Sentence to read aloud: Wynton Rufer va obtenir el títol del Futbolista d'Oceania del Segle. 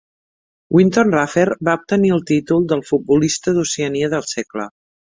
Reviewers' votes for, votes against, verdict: 2, 0, accepted